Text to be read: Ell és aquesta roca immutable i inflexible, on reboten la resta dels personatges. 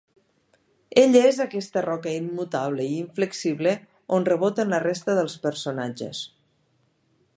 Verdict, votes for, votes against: accepted, 2, 0